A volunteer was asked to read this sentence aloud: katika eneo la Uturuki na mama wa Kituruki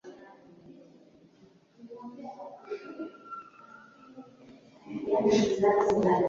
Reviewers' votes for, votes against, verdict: 0, 3, rejected